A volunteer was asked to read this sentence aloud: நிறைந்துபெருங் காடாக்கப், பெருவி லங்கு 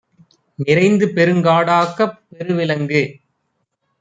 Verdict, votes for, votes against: accepted, 2, 0